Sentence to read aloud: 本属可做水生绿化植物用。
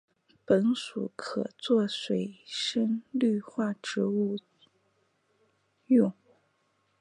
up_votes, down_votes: 3, 0